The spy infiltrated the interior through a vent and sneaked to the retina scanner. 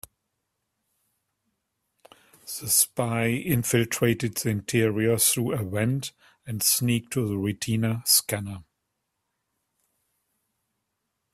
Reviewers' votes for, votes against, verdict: 1, 2, rejected